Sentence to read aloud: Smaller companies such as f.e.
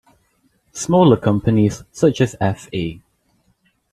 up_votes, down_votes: 2, 0